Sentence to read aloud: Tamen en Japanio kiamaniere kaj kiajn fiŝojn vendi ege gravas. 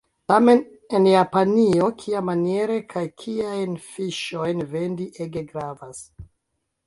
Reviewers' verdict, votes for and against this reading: rejected, 1, 2